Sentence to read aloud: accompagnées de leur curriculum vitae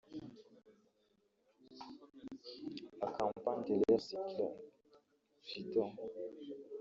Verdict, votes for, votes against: rejected, 0, 2